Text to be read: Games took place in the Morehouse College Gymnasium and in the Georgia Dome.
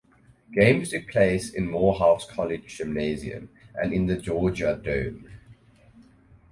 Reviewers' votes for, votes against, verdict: 2, 2, rejected